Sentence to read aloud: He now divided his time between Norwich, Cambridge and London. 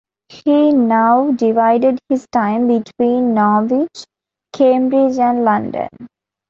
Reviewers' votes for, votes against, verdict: 2, 0, accepted